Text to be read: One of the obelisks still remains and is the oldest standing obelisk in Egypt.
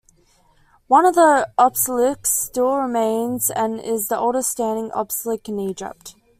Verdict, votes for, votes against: rejected, 0, 2